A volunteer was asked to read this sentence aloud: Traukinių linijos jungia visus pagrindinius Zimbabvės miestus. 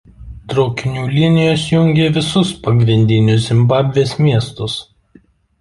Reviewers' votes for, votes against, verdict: 2, 0, accepted